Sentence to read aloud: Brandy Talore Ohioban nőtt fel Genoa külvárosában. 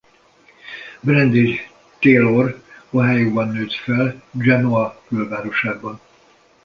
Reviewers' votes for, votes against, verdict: 0, 2, rejected